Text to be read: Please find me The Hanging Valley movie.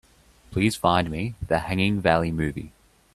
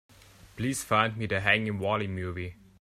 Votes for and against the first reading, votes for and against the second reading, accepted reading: 2, 0, 0, 2, first